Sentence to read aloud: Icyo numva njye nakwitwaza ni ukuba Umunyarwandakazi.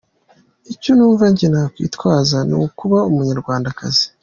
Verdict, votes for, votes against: accepted, 3, 0